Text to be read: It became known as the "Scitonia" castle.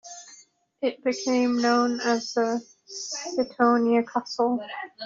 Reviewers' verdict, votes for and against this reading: rejected, 0, 2